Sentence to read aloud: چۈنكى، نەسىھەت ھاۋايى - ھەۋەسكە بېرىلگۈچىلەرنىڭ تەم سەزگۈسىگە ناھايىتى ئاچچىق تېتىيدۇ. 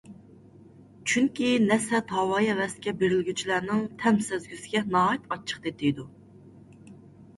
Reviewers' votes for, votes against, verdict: 0, 2, rejected